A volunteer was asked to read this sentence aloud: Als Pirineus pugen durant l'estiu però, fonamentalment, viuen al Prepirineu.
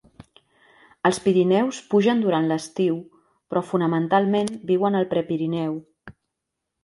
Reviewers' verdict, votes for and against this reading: accepted, 2, 0